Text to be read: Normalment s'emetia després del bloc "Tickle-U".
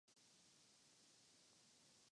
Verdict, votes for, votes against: rejected, 0, 3